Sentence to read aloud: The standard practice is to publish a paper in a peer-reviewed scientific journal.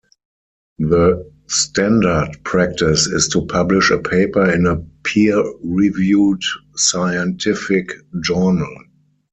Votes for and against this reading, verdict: 4, 0, accepted